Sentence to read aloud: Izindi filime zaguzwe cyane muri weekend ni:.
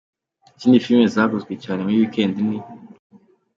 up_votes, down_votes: 2, 0